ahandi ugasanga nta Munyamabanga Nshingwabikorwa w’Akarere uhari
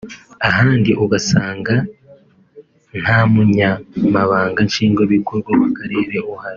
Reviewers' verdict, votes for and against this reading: accepted, 3, 0